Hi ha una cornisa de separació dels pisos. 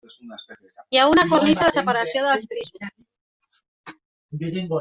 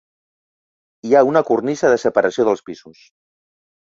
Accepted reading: second